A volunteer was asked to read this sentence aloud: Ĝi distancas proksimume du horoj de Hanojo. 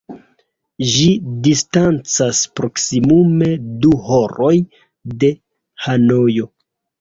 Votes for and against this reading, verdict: 1, 2, rejected